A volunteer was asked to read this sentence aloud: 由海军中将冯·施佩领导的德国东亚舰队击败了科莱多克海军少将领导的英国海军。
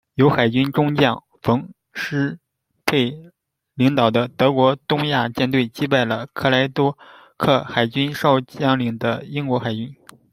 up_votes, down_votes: 1, 2